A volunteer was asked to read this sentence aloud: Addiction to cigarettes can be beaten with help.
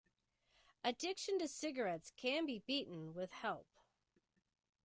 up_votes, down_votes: 2, 0